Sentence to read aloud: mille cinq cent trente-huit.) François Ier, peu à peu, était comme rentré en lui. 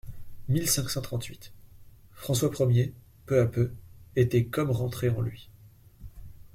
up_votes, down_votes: 2, 0